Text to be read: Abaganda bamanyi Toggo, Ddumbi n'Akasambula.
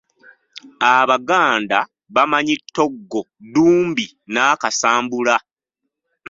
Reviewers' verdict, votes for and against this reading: rejected, 1, 2